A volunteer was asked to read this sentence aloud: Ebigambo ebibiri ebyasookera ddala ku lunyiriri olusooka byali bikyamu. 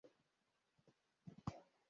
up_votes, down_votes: 0, 2